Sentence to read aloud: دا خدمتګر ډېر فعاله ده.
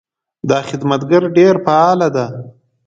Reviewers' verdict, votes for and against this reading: accepted, 2, 0